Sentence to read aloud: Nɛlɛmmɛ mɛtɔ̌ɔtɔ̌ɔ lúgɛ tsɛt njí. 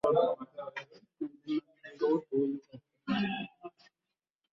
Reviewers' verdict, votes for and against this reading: rejected, 1, 2